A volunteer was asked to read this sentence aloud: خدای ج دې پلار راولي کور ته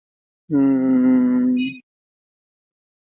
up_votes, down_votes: 0, 2